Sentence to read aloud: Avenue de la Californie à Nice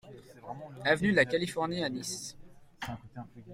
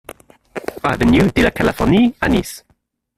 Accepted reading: first